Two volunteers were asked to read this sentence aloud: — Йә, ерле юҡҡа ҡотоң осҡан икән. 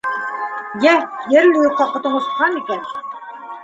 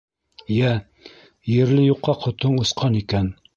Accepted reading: second